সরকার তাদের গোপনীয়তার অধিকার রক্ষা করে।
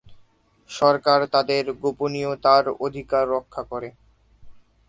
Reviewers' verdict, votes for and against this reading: accepted, 3, 0